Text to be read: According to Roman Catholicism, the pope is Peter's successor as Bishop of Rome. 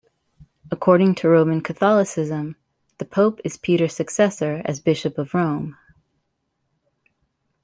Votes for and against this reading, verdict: 2, 0, accepted